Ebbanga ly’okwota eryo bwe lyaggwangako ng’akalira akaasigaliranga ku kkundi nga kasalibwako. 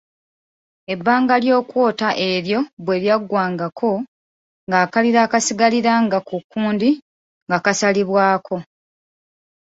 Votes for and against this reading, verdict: 2, 0, accepted